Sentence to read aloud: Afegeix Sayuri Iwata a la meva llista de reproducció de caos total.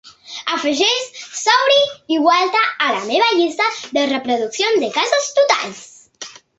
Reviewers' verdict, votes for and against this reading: rejected, 0, 2